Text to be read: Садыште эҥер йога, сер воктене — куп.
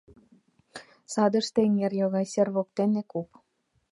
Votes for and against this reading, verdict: 2, 0, accepted